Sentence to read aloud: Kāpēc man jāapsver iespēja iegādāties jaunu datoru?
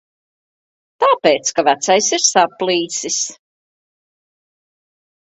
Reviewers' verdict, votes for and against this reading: rejected, 0, 2